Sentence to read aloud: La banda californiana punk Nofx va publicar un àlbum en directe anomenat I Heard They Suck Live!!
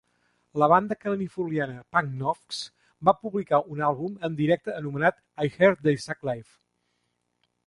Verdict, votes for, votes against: accepted, 2, 1